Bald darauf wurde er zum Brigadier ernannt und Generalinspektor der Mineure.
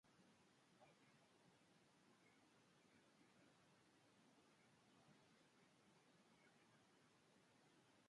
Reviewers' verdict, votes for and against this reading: rejected, 0, 2